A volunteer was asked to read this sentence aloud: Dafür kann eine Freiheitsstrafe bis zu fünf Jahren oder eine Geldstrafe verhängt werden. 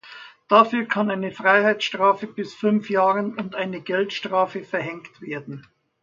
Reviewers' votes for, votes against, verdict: 1, 2, rejected